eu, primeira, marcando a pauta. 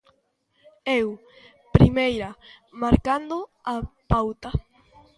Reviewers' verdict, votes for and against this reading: accepted, 2, 0